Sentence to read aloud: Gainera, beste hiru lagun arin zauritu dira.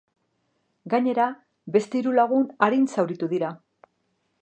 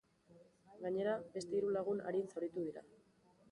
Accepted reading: first